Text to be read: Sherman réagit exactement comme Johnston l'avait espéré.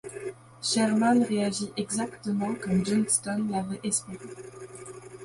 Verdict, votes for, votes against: accepted, 2, 0